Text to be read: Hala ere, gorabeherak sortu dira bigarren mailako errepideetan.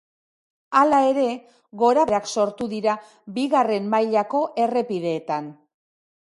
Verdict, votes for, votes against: rejected, 2, 3